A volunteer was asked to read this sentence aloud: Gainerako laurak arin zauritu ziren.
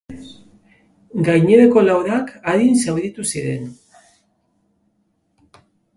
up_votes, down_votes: 3, 0